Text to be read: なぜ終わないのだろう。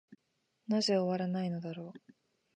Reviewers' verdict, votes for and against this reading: accepted, 2, 0